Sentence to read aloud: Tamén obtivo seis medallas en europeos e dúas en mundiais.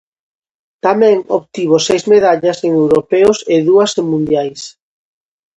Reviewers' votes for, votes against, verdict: 2, 0, accepted